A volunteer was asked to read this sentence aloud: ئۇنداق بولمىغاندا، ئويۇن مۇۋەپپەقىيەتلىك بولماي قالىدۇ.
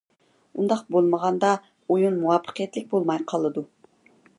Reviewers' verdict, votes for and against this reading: accepted, 2, 0